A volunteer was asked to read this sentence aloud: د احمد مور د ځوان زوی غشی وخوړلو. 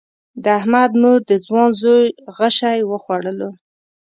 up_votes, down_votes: 2, 0